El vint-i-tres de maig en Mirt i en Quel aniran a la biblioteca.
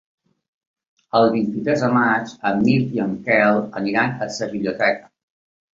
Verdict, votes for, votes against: rejected, 1, 2